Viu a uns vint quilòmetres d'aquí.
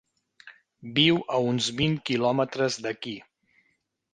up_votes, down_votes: 3, 0